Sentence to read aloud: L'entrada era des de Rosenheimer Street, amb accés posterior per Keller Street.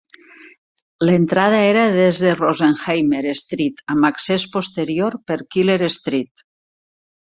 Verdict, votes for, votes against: accepted, 2, 0